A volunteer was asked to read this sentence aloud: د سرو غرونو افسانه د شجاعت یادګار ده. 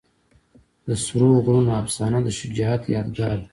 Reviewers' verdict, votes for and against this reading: accepted, 2, 0